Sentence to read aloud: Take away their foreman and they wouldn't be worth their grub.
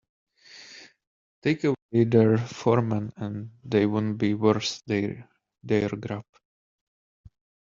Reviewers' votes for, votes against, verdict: 1, 2, rejected